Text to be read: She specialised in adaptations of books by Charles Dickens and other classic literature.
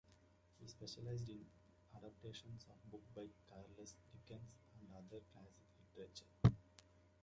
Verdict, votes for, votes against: rejected, 0, 2